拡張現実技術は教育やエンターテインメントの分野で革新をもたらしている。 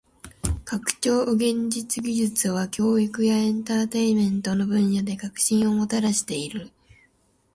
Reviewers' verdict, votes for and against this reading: accepted, 2, 1